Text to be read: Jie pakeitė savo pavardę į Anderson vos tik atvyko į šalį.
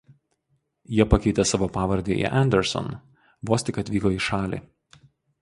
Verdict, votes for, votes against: accepted, 4, 0